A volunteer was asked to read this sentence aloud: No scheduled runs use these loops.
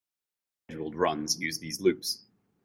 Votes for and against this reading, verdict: 0, 2, rejected